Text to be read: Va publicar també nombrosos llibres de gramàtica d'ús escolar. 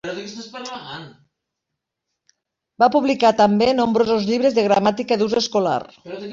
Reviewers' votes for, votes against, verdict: 1, 2, rejected